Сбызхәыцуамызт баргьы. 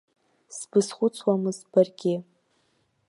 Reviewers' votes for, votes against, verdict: 1, 2, rejected